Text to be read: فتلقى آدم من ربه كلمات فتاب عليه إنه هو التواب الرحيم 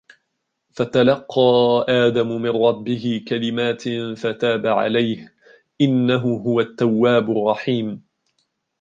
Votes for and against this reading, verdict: 1, 2, rejected